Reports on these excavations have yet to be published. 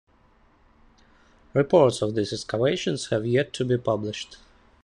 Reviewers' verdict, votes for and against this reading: accepted, 2, 1